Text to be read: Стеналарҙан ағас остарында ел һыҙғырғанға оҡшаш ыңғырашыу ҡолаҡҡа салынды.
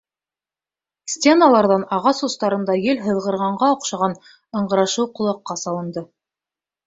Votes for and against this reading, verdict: 0, 2, rejected